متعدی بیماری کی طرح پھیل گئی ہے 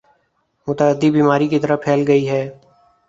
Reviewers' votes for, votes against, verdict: 4, 1, accepted